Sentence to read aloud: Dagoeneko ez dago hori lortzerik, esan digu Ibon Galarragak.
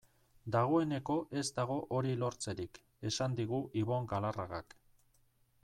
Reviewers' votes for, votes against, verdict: 2, 0, accepted